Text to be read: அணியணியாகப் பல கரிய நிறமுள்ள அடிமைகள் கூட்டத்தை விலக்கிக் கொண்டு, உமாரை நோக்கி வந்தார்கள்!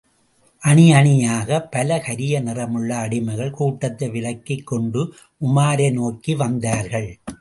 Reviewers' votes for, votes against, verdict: 2, 1, accepted